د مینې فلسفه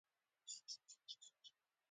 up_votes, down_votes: 2, 1